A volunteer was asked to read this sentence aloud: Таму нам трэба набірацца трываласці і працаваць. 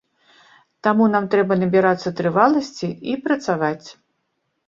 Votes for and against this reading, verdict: 2, 0, accepted